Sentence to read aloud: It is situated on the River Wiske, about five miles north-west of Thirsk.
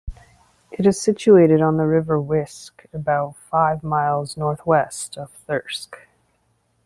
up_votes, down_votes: 2, 0